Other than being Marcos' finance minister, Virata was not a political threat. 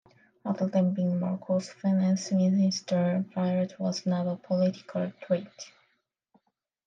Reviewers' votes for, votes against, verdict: 2, 1, accepted